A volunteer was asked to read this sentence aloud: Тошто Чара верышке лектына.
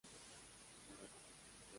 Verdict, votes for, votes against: rejected, 0, 2